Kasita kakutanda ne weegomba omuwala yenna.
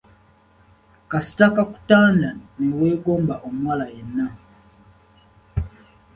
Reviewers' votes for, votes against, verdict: 2, 0, accepted